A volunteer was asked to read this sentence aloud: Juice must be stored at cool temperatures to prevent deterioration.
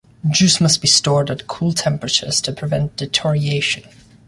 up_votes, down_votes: 1, 2